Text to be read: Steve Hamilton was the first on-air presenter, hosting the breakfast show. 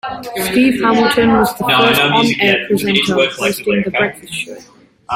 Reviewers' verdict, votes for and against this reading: rejected, 1, 2